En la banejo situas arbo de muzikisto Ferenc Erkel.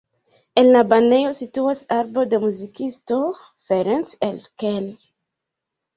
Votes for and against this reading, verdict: 2, 0, accepted